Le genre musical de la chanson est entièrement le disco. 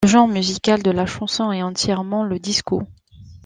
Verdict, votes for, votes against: rejected, 1, 2